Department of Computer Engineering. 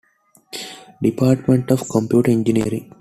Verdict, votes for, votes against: accepted, 2, 0